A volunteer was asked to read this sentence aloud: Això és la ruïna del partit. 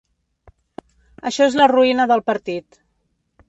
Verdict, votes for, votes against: accepted, 3, 0